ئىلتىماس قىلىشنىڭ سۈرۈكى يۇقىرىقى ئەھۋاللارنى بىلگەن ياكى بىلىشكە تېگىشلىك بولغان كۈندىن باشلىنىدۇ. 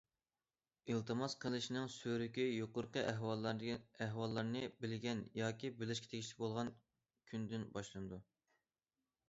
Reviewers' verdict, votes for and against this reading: accepted, 2, 1